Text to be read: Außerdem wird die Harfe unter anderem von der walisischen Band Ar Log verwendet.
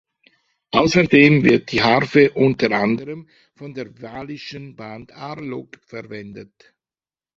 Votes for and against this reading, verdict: 0, 2, rejected